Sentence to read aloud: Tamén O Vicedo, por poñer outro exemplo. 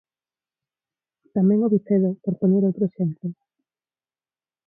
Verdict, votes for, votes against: accepted, 4, 2